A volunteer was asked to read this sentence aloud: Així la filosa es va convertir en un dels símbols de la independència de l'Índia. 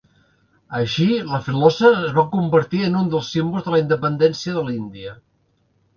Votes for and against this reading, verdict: 2, 0, accepted